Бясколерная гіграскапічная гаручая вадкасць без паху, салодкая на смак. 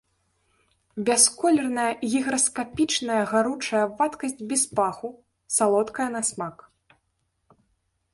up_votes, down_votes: 0, 2